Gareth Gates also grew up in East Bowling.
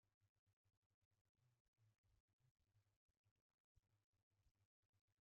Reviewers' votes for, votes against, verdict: 0, 2, rejected